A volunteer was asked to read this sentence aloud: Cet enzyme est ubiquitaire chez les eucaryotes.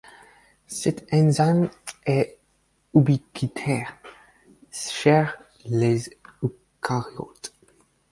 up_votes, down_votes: 0, 4